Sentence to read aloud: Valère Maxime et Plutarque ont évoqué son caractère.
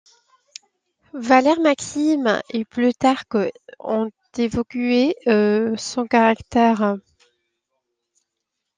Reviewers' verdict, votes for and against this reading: rejected, 1, 2